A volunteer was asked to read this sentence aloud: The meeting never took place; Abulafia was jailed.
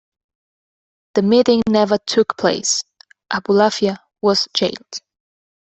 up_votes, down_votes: 2, 0